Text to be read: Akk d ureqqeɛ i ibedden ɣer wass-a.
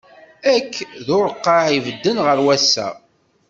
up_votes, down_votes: 1, 2